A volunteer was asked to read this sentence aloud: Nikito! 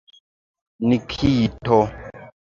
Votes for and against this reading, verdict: 2, 0, accepted